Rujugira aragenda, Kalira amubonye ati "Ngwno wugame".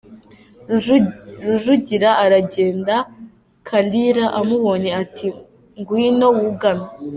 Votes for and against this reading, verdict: 0, 2, rejected